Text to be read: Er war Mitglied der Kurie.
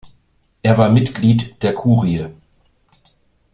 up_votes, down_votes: 2, 0